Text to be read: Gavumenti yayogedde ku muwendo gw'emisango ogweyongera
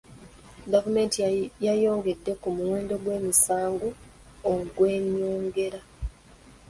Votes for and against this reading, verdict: 1, 2, rejected